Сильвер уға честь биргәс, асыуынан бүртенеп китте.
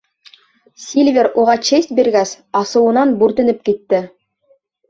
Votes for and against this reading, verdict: 4, 0, accepted